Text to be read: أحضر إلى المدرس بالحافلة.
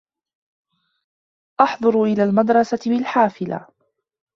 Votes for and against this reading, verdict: 1, 2, rejected